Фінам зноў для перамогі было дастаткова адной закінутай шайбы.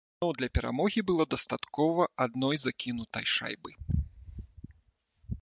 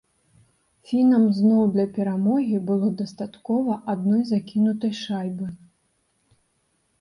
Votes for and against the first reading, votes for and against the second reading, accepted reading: 0, 2, 2, 0, second